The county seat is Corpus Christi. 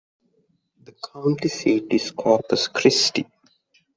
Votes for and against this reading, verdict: 0, 2, rejected